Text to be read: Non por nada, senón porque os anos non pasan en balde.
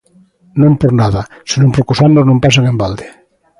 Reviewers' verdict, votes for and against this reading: accepted, 2, 0